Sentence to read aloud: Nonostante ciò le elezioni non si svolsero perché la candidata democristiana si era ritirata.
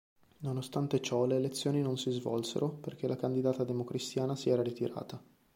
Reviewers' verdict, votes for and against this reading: accepted, 3, 1